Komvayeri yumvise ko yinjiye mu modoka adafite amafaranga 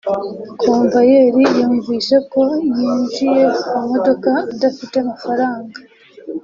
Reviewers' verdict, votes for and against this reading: accepted, 2, 1